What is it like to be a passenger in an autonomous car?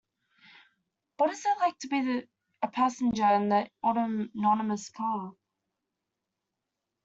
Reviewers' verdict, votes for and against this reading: rejected, 0, 2